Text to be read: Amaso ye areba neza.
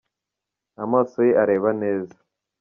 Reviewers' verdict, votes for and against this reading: accepted, 2, 0